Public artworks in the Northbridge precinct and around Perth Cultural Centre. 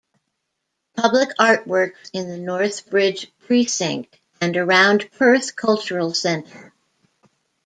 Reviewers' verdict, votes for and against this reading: rejected, 1, 2